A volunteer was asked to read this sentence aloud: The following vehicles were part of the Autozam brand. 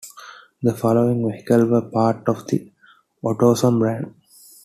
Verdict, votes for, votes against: rejected, 1, 2